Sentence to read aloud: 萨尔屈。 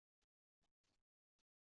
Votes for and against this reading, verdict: 2, 1, accepted